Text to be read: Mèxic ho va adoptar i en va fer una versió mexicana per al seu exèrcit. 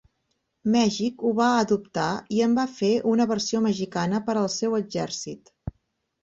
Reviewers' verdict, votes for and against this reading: accepted, 6, 0